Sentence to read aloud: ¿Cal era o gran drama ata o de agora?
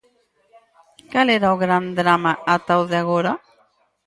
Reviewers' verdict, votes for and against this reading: rejected, 2, 4